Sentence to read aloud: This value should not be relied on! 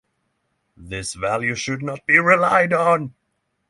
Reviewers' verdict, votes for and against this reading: rejected, 0, 6